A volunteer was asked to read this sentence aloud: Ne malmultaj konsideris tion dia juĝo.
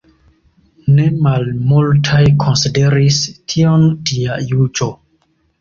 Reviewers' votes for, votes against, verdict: 2, 0, accepted